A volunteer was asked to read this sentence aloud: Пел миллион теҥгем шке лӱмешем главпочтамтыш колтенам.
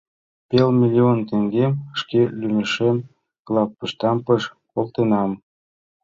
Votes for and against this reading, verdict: 2, 0, accepted